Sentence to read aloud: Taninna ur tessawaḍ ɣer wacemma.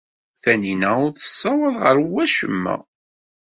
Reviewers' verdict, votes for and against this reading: accepted, 2, 0